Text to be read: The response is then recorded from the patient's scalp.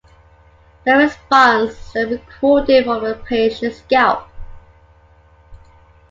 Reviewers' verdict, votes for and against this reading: rejected, 2, 3